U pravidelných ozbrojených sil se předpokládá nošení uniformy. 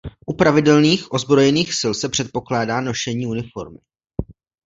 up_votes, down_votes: 2, 0